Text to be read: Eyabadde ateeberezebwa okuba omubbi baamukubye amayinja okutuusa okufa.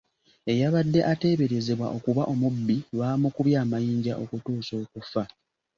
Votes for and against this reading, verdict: 2, 0, accepted